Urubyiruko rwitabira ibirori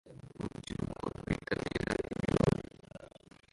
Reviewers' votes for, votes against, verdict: 0, 2, rejected